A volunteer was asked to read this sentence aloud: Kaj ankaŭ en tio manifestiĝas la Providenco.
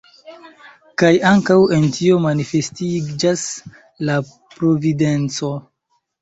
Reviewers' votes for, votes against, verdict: 4, 3, accepted